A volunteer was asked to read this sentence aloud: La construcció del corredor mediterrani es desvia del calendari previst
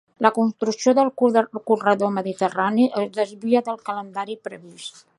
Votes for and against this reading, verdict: 1, 2, rejected